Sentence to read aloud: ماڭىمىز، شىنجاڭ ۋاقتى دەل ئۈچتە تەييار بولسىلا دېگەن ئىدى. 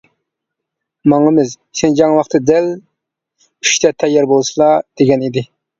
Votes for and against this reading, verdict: 2, 1, accepted